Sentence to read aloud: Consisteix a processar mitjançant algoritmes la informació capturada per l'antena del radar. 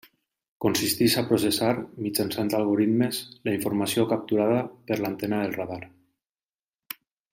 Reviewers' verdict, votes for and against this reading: accepted, 2, 0